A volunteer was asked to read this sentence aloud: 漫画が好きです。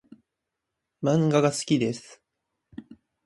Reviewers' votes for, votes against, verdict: 2, 0, accepted